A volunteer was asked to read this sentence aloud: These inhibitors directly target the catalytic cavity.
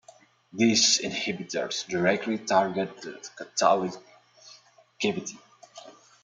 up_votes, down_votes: 0, 2